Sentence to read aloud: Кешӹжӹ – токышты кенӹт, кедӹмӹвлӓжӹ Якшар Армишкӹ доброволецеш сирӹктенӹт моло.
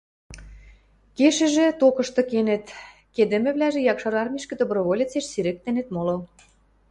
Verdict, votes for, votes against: accepted, 2, 0